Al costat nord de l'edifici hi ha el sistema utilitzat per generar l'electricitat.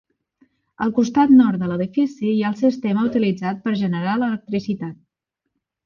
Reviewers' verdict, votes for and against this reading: accepted, 2, 0